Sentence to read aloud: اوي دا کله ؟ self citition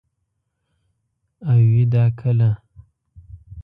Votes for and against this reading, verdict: 1, 2, rejected